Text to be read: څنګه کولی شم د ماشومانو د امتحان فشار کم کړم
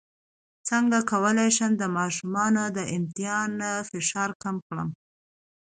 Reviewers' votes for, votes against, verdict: 2, 0, accepted